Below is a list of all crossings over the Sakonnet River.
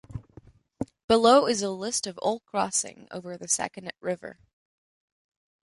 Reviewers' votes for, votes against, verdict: 0, 2, rejected